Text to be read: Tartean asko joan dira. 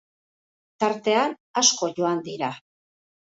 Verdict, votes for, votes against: accepted, 4, 0